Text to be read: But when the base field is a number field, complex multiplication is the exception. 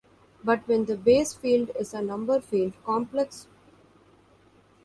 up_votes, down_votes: 0, 2